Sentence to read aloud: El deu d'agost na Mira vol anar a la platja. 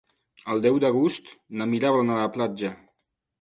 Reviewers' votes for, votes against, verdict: 1, 3, rejected